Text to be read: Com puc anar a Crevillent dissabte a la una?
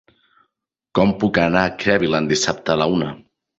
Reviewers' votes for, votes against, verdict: 0, 2, rejected